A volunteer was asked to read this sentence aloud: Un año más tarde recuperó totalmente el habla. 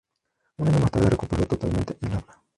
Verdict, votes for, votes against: rejected, 0, 2